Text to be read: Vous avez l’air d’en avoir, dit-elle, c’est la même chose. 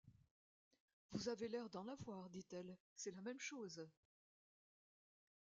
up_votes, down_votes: 1, 2